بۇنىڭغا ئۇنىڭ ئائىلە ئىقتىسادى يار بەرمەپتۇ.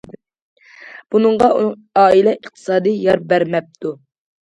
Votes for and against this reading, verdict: 0, 2, rejected